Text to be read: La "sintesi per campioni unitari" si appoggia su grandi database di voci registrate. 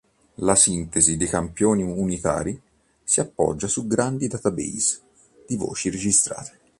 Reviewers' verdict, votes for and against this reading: rejected, 1, 2